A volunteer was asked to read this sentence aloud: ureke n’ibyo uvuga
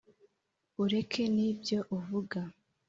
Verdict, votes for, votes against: accepted, 2, 0